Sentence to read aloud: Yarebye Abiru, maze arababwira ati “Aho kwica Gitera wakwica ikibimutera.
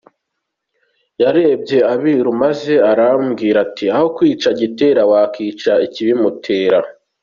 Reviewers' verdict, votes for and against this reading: accepted, 2, 0